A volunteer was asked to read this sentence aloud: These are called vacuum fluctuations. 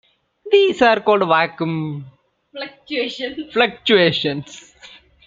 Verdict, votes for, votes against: accepted, 2, 1